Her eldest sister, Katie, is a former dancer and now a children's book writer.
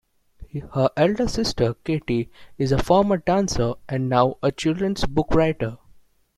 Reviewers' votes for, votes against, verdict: 0, 2, rejected